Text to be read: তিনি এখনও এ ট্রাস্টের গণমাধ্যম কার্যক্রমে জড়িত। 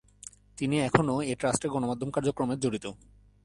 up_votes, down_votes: 1, 2